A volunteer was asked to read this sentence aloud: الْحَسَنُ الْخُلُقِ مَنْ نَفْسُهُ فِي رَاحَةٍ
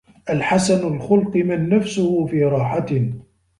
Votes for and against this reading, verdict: 2, 0, accepted